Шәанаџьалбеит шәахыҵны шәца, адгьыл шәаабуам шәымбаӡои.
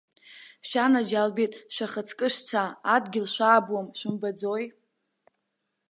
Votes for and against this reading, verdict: 0, 2, rejected